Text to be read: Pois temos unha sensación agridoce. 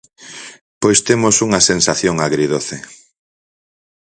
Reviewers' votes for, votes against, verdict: 4, 0, accepted